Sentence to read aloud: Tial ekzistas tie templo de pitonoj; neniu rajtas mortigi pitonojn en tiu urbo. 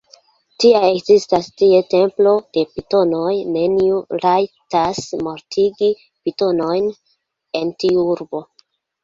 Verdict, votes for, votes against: rejected, 0, 2